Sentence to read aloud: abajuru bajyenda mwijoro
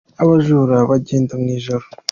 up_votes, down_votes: 2, 0